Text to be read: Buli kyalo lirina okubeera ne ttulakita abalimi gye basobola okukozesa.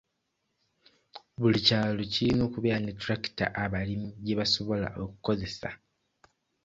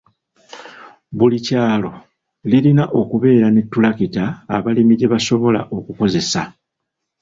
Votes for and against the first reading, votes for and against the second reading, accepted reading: 2, 1, 1, 3, first